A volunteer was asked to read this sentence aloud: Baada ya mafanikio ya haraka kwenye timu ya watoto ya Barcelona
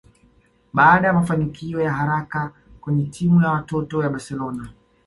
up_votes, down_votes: 2, 0